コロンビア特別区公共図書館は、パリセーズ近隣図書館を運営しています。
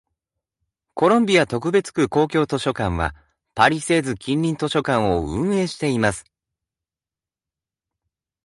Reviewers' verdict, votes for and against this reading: accepted, 2, 0